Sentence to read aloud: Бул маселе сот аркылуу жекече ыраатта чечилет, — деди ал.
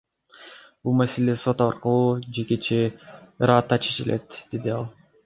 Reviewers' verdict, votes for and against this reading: accepted, 2, 0